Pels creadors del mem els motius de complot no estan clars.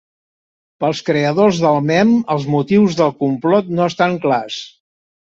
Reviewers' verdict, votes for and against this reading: rejected, 1, 2